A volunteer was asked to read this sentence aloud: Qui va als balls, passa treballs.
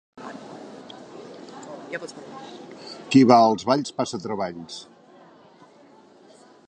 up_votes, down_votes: 2, 0